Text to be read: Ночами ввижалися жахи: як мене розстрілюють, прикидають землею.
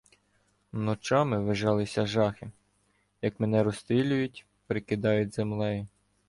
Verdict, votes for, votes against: rejected, 1, 2